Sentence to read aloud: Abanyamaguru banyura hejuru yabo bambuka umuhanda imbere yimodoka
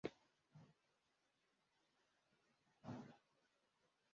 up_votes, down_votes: 0, 2